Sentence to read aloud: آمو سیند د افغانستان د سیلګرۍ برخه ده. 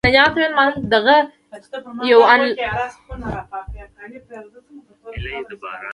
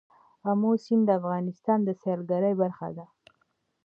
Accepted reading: second